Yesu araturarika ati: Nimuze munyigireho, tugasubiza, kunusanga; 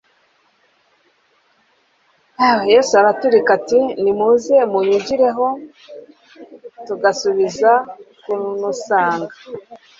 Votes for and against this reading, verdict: 1, 2, rejected